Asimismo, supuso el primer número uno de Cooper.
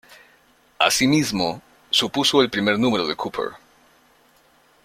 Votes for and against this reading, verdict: 1, 2, rejected